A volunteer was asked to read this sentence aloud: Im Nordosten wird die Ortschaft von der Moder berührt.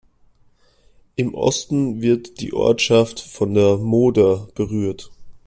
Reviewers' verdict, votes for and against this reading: rejected, 0, 2